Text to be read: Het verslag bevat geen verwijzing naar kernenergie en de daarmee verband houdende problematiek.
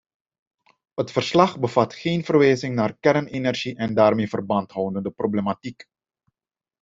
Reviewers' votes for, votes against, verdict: 2, 0, accepted